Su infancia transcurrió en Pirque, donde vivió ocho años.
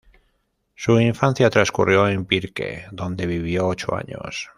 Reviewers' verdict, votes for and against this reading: accepted, 2, 0